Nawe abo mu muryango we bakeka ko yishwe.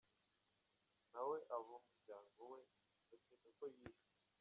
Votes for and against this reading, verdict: 1, 2, rejected